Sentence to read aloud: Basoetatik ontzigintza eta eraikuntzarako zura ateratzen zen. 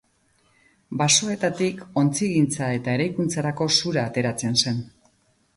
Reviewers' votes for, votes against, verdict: 6, 0, accepted